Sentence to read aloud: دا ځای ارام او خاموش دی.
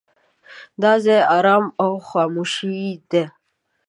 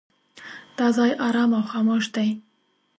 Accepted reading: second